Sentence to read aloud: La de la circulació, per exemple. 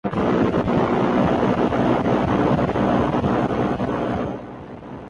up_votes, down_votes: 0, 2